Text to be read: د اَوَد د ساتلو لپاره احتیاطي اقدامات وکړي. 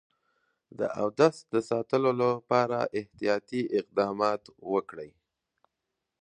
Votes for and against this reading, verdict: 0, 2, rejected